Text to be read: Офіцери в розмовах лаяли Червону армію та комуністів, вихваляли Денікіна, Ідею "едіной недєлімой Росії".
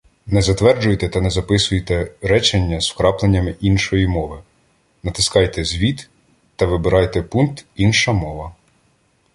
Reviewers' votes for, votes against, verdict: 0, 2, rejected